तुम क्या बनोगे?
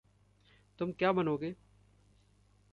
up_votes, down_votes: 2, 0